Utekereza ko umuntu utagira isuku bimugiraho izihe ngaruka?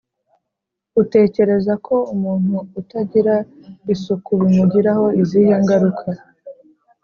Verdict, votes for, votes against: accepted, 3, 0